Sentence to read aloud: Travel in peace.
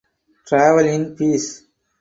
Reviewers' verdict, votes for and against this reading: accepted, 4, 0